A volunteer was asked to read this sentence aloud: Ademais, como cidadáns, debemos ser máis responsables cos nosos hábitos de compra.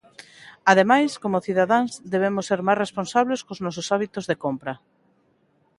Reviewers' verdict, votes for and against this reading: accepted, 2, 0